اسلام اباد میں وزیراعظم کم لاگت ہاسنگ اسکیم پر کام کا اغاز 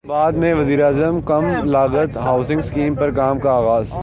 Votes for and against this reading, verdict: 0, 4, rejected